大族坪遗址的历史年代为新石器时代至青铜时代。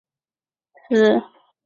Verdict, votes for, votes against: rejected, 0, 2